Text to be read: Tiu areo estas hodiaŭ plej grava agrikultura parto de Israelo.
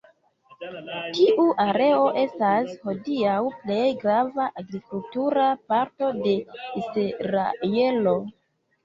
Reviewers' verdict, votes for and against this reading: rejected, 0, 2